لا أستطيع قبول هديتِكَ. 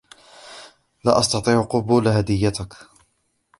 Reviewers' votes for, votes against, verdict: 2, 1, accepted